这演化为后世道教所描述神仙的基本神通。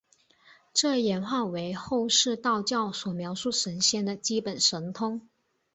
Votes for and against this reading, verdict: 5, 0, accepted